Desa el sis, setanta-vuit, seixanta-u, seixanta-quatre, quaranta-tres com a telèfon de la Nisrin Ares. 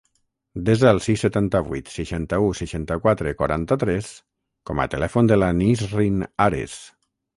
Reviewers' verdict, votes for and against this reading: rejected, 3, 3